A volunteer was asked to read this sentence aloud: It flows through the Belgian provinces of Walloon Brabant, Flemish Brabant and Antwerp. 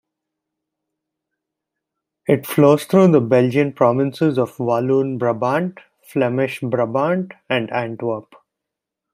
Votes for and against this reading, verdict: 2, 0, accepted